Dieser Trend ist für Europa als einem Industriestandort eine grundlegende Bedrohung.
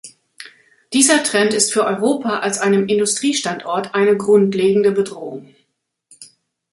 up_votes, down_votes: 2, 0